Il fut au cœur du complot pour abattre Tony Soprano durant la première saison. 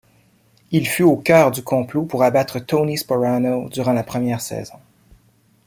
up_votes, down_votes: 0, 2